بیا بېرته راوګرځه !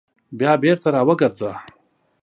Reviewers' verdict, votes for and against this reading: accepted, 2, 0